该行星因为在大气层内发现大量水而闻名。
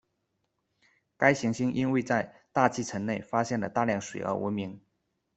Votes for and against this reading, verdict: 2, 0, accepted